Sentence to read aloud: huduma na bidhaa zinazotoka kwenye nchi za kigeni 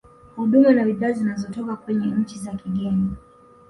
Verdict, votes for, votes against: accepted, 2, 0